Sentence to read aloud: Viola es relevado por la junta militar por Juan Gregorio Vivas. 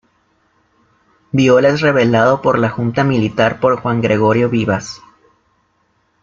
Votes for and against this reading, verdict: 0, 2, rejected